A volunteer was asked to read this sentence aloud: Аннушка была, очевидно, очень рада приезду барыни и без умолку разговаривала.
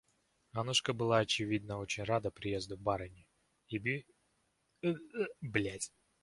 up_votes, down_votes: 0, 2